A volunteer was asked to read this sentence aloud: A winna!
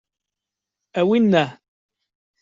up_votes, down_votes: 2, 0